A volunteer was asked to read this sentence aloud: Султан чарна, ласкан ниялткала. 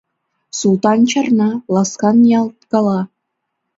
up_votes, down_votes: 2, 0